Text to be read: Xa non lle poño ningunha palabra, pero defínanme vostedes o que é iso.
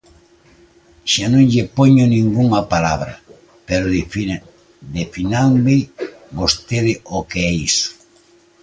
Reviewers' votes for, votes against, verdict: 0, 2, rejected